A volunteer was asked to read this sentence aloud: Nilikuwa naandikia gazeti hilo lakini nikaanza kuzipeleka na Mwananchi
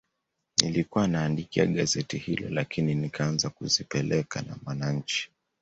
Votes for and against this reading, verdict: 2, 0, accepted